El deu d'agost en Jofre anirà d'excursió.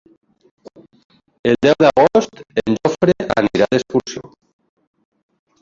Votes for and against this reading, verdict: 0, 2, rejected